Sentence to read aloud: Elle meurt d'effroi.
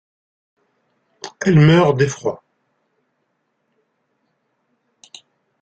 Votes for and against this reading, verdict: 1, 2, rejected